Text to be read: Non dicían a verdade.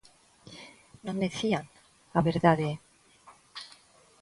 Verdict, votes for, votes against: rejected, 0, 3